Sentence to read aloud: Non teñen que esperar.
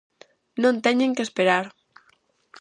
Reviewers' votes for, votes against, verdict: 2, 0, accepted